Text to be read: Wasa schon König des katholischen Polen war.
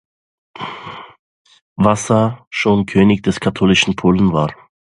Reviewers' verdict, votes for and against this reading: accepted, 2, 1